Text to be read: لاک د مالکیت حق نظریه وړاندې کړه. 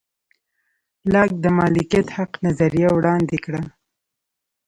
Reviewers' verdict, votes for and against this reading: rejected, 1, 2